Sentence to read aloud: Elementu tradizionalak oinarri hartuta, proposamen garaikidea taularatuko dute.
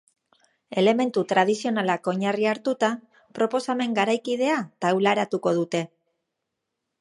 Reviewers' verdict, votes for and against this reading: accepted, 2, 0